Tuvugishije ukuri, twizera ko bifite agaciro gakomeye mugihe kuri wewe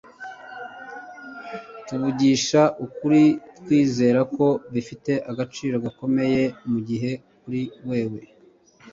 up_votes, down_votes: 1, 2